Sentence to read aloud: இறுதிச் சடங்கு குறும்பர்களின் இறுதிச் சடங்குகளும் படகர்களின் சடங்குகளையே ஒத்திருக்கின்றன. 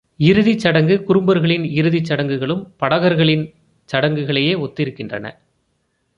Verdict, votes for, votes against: accepted, 2, 0